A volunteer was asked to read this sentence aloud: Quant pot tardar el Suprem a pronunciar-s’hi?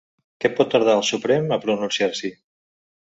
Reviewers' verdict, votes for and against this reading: rejected, 0, 2